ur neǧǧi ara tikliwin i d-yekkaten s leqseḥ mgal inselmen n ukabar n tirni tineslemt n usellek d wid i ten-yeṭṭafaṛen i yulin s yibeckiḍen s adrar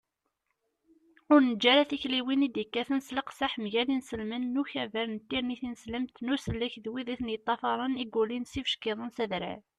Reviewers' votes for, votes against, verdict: 2, 0, accepted